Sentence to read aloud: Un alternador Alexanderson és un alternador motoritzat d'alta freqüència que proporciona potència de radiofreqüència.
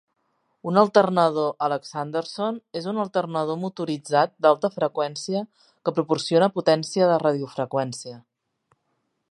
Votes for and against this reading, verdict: 3, 0, accepted